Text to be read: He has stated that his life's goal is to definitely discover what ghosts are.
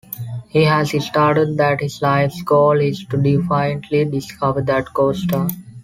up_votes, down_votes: 1, 2